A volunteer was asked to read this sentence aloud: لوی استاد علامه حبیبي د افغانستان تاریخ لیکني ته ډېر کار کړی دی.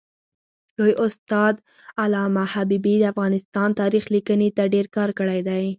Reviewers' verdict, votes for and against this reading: rejected, 2, 4